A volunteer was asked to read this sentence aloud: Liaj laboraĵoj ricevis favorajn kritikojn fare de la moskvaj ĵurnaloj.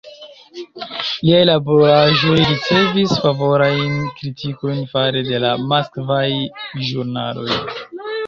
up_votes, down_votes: 1, 2